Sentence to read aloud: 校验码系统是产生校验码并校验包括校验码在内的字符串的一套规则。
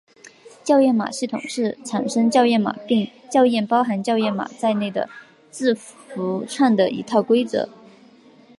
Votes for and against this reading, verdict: 2, 0, accepted